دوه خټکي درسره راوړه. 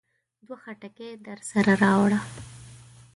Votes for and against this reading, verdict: 2, 1, accepted